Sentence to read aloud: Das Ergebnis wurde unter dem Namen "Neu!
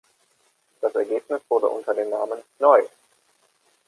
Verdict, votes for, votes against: accepted, 2, 0